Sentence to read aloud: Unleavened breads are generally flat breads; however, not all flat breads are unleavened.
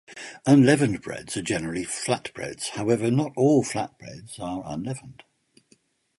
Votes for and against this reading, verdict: 2, 0, accepted